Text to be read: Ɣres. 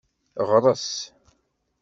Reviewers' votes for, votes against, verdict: 2, 0, accepted